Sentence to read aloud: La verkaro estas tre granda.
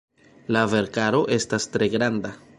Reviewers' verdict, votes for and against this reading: accepted, 2, 0